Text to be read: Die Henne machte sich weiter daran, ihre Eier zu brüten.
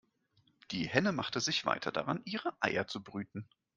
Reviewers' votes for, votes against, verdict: 2, 0, accepted